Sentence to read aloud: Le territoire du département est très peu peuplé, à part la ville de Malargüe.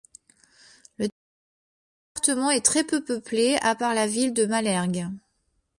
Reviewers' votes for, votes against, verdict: 1, 2, rejected